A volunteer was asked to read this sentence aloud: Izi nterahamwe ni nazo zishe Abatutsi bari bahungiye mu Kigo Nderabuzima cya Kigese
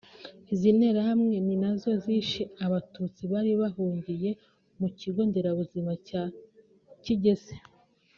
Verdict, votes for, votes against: accepted, 2, 0